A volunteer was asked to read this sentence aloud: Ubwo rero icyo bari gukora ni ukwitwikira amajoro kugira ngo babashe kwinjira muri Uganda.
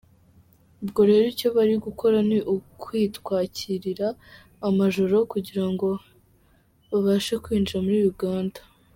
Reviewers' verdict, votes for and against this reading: rejected, 1, 2